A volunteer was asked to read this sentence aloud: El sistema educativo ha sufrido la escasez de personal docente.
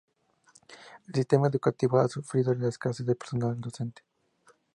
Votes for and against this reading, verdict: 2, 0, accepted